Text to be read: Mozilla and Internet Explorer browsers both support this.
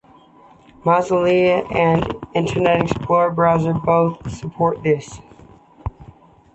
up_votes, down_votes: 2, 1